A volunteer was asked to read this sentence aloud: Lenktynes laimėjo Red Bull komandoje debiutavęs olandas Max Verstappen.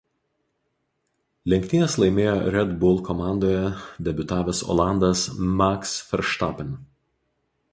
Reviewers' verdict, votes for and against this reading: accepted, 2, 0